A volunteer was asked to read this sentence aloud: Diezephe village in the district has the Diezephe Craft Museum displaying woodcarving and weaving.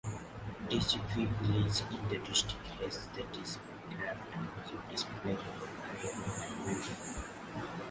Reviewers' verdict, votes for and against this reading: rejected, 1, 2